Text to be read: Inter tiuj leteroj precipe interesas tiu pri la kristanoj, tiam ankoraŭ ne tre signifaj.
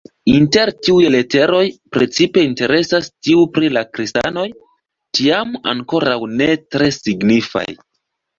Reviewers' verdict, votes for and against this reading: accepted, 2, 0